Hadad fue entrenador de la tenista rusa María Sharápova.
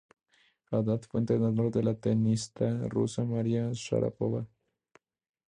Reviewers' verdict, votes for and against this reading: rejected, 0, 2